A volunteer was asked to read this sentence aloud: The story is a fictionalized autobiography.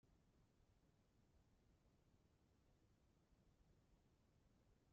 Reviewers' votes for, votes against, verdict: 0, 2, rejected